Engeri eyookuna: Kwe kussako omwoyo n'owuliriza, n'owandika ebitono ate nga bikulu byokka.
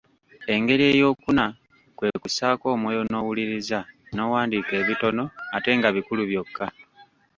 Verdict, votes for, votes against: rejected, 0, 2